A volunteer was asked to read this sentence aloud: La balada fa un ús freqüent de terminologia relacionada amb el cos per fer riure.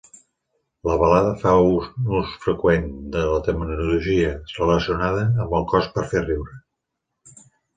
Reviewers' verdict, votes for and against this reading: rejected, 1, 2